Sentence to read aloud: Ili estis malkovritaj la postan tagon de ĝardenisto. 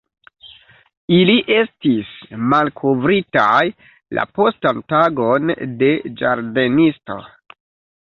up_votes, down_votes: 2, 0